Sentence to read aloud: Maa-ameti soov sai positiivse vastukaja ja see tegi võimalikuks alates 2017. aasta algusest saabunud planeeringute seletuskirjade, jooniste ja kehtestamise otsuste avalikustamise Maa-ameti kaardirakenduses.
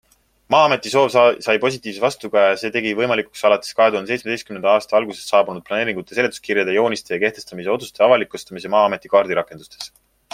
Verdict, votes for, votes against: rejected, 0, 2